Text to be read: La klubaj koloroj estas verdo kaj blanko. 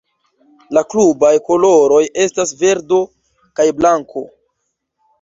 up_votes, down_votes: 2, 0